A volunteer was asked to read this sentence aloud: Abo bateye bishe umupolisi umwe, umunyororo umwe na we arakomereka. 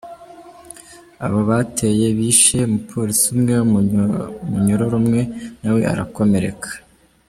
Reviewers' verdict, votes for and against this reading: rejected, 1, 3